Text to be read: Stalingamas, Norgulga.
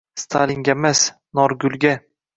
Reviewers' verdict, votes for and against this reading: rejected, 1, 2